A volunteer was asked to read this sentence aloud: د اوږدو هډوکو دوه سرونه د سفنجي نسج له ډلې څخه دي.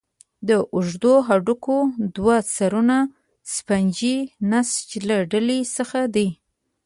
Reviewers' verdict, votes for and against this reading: accepted, 2, 0